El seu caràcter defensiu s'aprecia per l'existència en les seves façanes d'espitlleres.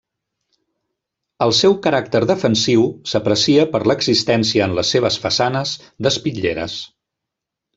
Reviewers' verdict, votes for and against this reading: accepted, 3, 0